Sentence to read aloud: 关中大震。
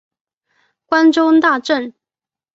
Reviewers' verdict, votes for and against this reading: accepted, 2, 0